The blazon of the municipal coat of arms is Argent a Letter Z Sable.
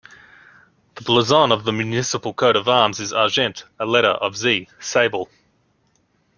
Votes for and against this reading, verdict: 1, 2, rejected